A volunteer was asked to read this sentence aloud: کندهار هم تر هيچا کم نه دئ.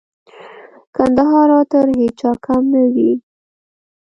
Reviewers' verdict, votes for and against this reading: accepted, 2, 0